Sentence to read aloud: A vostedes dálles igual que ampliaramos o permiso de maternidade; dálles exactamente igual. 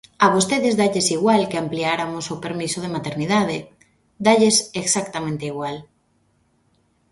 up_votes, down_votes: 0, 2